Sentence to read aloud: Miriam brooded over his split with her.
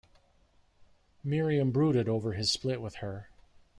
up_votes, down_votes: 2, 0